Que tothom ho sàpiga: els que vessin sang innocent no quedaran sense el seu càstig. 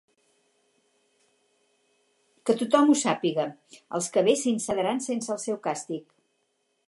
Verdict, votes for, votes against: rejected, 0, 4